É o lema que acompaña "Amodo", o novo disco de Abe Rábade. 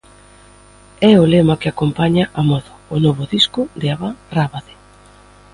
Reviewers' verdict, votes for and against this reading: rejected, 0, 2